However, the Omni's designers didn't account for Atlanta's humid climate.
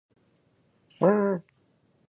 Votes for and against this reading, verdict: 0, 2, rejected